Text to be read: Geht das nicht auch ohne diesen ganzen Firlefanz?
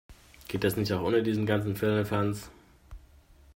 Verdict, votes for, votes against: accepted, 2, 1